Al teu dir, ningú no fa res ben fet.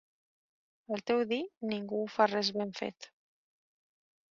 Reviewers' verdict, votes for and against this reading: rejected, 1, 2